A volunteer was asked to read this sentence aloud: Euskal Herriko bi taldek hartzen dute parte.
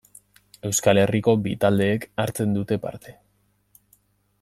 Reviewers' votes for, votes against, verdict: 1, 2, rejected